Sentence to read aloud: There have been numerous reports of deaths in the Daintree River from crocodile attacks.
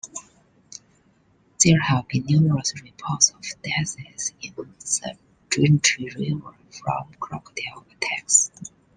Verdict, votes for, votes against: accepted, 2, 0